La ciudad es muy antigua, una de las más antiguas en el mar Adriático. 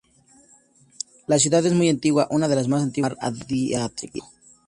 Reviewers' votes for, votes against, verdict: 0, 2, rejected